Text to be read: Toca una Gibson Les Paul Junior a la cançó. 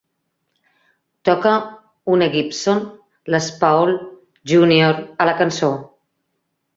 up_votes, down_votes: 2, 0